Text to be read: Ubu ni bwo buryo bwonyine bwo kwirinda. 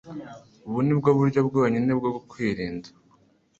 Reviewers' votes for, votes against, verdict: 2, 0, accepted